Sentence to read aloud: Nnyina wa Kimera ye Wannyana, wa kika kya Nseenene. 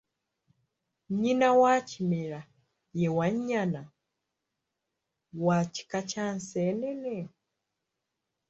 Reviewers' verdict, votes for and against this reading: rejected, 0, 2